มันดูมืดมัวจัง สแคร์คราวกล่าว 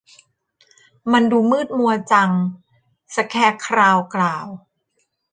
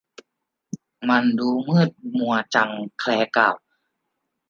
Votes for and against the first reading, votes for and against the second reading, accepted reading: 2, 0, 0, 2, first